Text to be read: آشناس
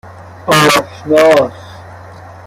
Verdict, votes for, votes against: rejected, 0, 2